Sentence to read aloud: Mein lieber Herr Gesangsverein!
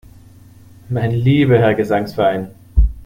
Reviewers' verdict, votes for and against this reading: accepted, 2, 0